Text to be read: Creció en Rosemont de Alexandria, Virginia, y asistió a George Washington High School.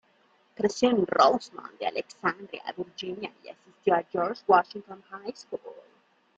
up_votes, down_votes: 1, 2